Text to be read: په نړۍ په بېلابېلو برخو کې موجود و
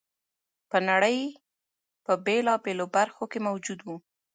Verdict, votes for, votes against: accepted, 2, 0